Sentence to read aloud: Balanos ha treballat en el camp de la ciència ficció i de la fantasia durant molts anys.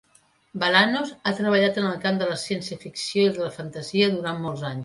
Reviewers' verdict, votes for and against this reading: accepted, 2, 1